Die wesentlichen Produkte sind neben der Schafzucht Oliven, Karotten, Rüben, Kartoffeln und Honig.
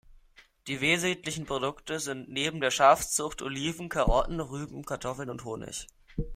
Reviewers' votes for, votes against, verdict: 0, 2, rejected